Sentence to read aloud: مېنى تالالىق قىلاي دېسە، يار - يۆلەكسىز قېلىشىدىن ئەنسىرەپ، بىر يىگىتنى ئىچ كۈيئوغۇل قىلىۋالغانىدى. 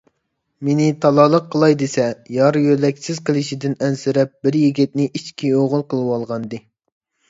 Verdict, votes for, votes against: accepted, 3, 0